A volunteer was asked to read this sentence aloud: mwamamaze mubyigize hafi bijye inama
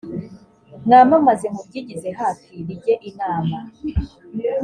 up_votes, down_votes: 2, 0